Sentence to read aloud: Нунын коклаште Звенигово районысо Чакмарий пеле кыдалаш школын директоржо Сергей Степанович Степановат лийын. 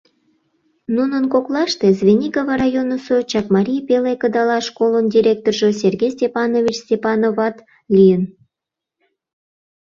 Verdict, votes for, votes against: accepted, 2, 0